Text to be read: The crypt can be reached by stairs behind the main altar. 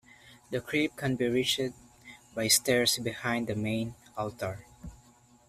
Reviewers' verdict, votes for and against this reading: rejected, 1, 2